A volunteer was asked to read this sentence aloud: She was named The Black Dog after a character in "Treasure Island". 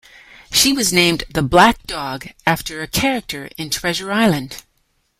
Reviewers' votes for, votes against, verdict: 2, 0, accepted